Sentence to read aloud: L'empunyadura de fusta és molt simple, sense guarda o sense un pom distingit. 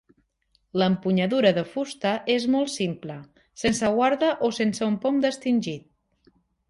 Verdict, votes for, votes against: rejected, 2, 3